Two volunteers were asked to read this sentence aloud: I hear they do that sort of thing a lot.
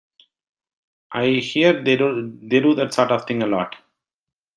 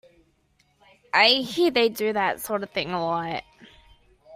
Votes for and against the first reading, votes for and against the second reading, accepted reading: 0, 2, 2, 0, second